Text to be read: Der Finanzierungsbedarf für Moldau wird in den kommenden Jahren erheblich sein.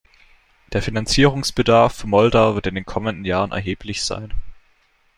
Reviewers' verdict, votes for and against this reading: rejected, 1, 2